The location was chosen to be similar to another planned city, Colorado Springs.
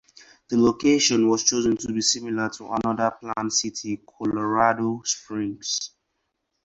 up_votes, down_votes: 4, 0